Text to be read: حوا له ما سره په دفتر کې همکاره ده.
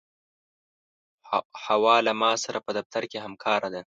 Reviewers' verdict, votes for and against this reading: accepted, 2, 0